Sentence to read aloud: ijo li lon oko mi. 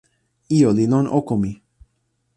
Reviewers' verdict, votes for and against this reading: accepted, 2, 0